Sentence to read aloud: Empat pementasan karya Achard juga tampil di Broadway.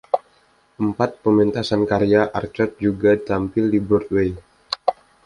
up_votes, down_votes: 1, 2